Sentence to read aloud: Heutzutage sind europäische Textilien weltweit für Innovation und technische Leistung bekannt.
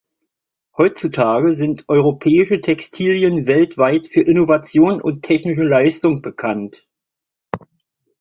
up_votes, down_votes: 2, 0